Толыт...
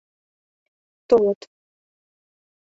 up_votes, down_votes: 2, 0